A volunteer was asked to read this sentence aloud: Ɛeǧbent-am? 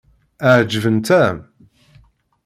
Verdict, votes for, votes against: accepted, 2, 0